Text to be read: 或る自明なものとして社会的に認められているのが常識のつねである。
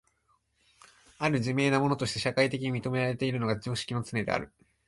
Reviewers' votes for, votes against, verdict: 2, 1, accepted